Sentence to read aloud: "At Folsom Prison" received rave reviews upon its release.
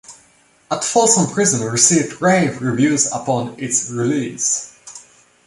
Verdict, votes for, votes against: accepted, 2, 0